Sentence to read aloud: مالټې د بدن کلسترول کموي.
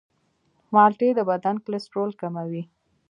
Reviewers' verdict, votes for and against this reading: accepted, 2, 0